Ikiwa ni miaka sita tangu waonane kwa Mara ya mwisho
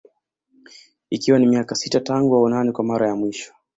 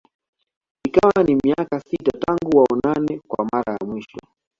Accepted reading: first